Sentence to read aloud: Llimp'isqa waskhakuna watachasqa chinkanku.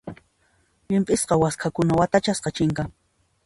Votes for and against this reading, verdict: 0, 2, rejected